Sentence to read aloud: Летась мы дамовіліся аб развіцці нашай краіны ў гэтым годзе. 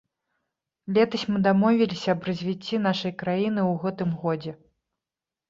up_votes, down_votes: 2, 0